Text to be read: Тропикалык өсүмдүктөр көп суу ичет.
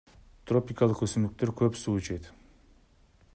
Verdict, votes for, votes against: accepted, 2, 0